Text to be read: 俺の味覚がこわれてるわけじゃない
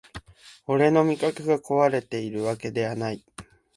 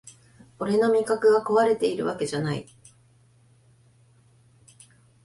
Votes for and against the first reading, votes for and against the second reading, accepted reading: 1, 2, 2, 0, second